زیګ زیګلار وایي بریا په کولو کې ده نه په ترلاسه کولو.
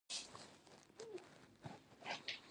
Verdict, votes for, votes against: rejected, 0, 2